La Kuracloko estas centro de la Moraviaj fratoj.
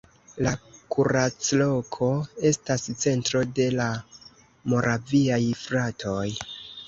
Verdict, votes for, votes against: accepted, 2, 0